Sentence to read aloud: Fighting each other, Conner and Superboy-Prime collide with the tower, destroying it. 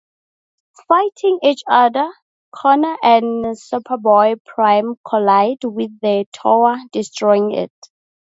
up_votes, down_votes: 0, 2